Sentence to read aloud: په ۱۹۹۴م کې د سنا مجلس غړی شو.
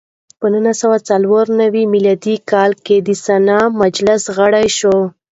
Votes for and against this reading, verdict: 0, 2, rejected